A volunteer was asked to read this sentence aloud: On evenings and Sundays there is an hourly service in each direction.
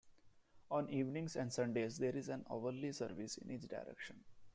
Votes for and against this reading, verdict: 0, 2, rejected